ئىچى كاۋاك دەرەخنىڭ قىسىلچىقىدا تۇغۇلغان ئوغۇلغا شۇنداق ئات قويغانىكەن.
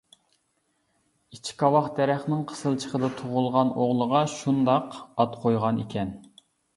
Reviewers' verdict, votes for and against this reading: rejected, 1, 2